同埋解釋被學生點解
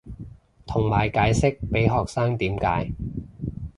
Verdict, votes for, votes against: accepted, 2, 0